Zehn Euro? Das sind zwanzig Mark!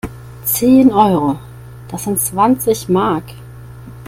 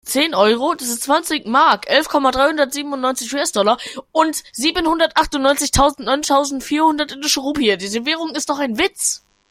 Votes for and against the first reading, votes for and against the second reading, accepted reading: 2, 0, 0, 2, first